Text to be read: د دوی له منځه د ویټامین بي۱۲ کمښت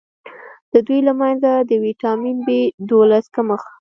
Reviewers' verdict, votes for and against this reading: rejected, 0, 2